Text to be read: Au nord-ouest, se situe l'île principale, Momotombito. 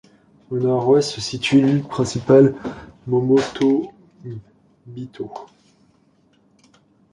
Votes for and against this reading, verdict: 0, 2, rejected